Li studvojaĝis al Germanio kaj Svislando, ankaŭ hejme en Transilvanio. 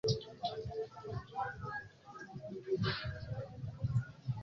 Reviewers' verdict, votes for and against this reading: rejected, 1, 2